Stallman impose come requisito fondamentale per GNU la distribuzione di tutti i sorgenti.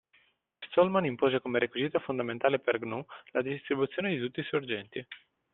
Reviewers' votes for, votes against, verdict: 2, 0, accepted